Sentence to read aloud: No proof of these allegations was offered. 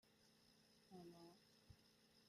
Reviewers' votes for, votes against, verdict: 0, 2, rejected